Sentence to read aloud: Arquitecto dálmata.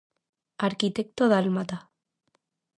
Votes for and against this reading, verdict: 2, 0, accepted